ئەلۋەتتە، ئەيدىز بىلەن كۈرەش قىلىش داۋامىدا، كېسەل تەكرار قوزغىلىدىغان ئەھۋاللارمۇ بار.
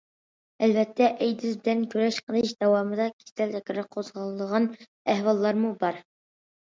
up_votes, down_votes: 0, 2